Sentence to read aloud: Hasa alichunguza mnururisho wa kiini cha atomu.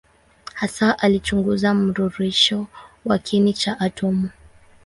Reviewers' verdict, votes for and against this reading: rejected, 2, 2